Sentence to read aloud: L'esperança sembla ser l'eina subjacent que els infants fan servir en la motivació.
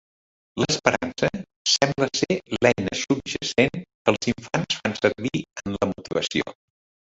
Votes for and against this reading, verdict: 1, 4, rejected